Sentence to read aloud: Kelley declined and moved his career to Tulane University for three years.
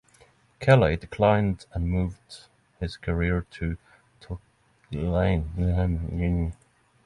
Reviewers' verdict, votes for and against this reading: rejected, 0, 6